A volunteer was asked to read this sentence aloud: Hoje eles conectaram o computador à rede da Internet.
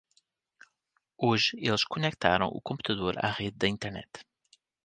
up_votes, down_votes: 0, 2